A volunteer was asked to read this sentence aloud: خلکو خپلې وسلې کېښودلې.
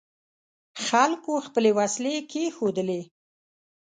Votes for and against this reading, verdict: 2, 0, accepted